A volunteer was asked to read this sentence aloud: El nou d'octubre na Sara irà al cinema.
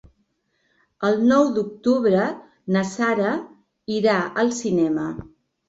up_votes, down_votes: 1, 2